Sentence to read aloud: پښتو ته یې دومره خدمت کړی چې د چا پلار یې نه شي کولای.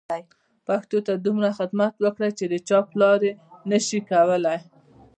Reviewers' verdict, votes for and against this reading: rejected, 1, 2